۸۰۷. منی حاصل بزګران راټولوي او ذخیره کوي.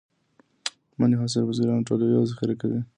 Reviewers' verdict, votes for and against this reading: rejected, 0, 2